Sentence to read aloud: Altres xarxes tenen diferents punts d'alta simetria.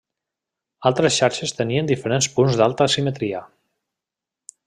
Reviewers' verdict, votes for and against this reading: rejected, 1, 2